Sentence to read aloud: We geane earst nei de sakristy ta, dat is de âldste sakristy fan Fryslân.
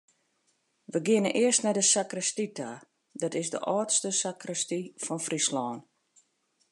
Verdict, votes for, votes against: accepted, 2, 0